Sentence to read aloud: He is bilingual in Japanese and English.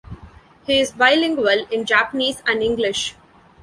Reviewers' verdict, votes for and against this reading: accepted, 2, 0